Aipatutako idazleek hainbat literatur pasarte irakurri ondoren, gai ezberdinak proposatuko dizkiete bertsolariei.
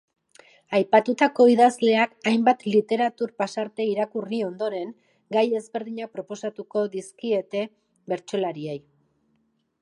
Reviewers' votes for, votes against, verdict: 2, 1, accepted